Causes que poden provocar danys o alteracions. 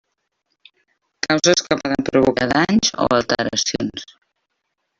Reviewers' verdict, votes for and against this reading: accepted, 3, 1